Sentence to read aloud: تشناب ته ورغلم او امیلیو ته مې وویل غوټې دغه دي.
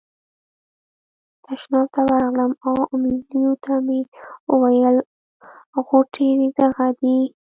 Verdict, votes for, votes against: accepted, 3, 1